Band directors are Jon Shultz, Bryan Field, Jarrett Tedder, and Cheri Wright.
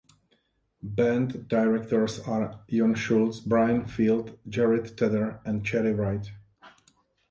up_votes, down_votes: 2, 0